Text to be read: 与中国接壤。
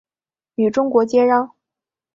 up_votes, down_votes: 2, 1